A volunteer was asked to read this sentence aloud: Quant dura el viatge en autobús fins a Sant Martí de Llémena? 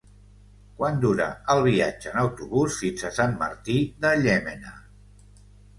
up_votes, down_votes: 0, 2